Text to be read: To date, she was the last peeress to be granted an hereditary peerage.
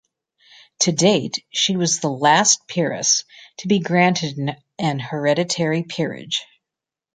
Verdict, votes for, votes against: rejected, 1, 2